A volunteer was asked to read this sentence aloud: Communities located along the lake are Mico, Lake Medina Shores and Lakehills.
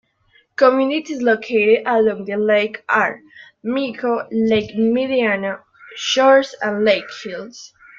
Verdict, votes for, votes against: rejected, 1, 2